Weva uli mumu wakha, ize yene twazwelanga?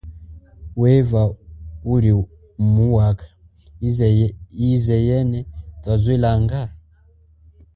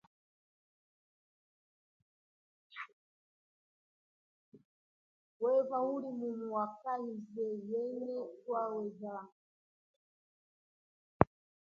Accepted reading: first